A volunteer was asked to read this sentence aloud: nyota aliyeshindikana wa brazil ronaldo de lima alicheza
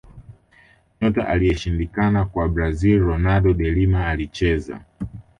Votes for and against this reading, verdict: 2, 3, rejected